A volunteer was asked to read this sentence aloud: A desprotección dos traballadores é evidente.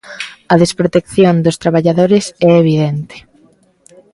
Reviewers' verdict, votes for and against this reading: accepted, 2, 0